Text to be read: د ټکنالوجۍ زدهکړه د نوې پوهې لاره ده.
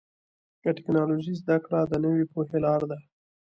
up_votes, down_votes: 2, 0